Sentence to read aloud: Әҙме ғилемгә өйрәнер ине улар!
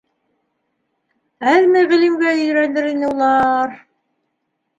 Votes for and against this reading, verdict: 1, 2, rejected